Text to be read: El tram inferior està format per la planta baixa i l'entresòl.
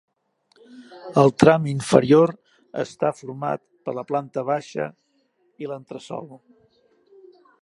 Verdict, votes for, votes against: accepted, 2, 0